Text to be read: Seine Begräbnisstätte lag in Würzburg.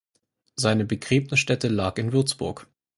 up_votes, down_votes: 4, 0